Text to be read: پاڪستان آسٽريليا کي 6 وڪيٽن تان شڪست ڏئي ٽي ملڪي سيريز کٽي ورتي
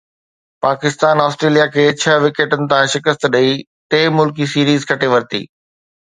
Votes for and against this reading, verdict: 0, 2, rejected